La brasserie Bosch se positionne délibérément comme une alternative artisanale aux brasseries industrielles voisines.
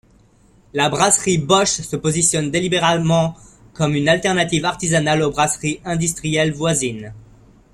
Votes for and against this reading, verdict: 1, 2, rejected